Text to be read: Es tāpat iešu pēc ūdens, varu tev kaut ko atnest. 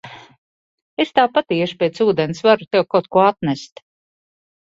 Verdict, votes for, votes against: accepted, 2, 0